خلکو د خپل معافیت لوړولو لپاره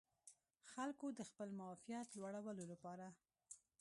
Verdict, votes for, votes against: rejected, 1, 2